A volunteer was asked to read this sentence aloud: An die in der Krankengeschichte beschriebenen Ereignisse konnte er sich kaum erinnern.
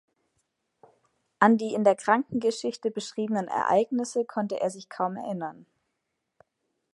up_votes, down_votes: 2, 0